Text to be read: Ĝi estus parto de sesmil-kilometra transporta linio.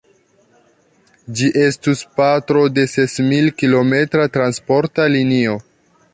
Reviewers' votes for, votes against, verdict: 0, 3, rejected